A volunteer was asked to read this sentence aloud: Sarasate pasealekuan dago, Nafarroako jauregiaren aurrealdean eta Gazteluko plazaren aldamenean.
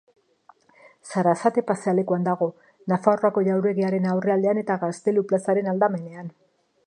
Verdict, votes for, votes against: rejected, 0, 2